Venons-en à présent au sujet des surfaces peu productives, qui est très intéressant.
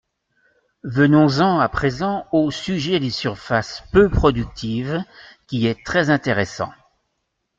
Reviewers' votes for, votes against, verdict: 2, 0, accepted